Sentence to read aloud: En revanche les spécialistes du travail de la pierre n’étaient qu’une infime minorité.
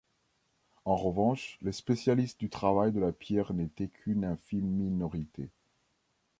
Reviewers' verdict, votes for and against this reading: rejected, 1, 2